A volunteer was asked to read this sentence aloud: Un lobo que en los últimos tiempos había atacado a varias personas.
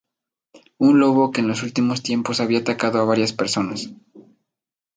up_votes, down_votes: 2, 0